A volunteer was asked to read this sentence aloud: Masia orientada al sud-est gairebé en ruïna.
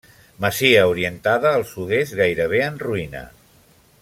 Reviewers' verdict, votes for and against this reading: rejected, 0, 2